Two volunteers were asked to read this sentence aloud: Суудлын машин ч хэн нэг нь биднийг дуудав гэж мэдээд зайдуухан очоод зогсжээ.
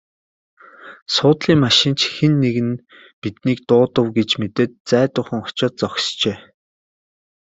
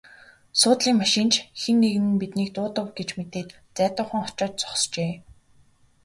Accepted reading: first